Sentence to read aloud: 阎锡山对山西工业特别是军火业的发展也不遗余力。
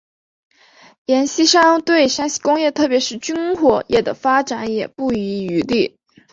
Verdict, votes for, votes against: rejected, 0, 2